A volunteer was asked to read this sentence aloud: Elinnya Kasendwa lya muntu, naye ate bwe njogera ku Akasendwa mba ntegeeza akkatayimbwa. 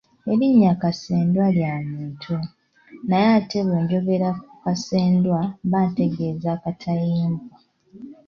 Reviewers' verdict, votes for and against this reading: accepted, 2, 1